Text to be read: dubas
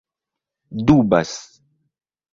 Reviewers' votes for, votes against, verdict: 2, 0, accepted